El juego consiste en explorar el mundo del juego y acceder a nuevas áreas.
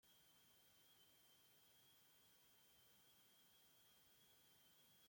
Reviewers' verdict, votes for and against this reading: rejected, 0, 2